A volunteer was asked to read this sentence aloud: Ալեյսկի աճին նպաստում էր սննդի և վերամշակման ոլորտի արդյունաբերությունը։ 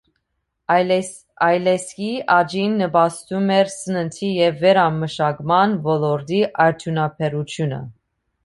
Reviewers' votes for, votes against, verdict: 1, 2, rejected